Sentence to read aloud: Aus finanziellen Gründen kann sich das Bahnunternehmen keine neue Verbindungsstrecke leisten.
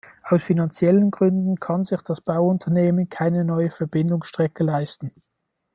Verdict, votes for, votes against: rejected, 1, 2